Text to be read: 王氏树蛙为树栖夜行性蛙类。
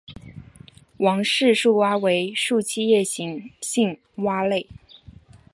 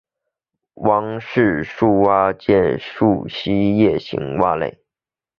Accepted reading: first